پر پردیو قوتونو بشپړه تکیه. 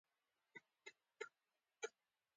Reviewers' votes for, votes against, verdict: 0, 2, rejected